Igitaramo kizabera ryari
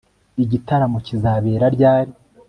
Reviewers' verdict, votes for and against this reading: accepted, 2, 0